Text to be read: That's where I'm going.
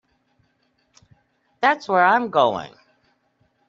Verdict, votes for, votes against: accepted, 2, 0